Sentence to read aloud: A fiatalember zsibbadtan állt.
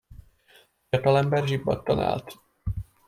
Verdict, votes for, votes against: rejected, 1, 2